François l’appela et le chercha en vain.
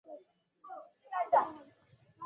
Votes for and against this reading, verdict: 0, 2, rejected